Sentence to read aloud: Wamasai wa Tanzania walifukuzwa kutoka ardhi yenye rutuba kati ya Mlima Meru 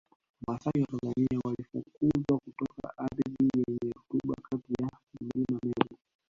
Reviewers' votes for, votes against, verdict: 2, 0, accepted